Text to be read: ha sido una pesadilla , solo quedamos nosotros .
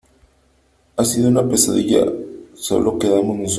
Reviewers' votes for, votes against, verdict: 0, 2, rejected